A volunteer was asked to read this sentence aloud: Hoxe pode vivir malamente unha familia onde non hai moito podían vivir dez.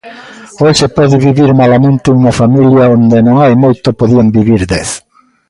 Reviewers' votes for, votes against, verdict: 0, 2, rejected